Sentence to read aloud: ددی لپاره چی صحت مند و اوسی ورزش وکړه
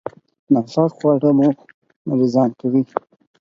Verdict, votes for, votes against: rejected, 0, 4